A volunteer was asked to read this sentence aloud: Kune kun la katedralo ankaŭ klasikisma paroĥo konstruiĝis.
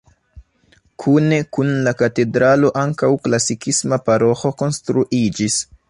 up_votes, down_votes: 2, 0